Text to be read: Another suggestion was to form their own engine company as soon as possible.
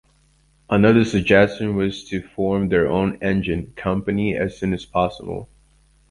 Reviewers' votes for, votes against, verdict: 2, 0, accepted